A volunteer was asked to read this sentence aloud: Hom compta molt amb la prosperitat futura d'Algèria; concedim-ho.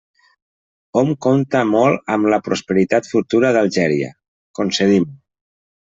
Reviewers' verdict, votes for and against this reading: rejected, 1, 2